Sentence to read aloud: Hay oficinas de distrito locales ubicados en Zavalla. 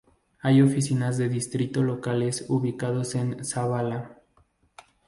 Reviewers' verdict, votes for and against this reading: accepted, 2, 0